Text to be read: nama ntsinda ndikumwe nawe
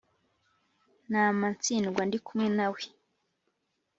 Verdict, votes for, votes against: rejected, 1, 2